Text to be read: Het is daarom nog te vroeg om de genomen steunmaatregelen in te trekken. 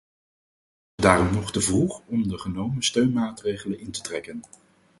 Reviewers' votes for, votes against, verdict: 0, 4, rejected